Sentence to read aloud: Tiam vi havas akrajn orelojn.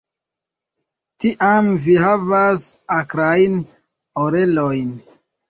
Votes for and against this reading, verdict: 0, 2, rejected